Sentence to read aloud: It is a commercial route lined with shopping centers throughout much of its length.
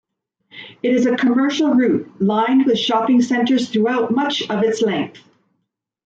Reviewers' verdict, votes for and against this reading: accepted, 2, 0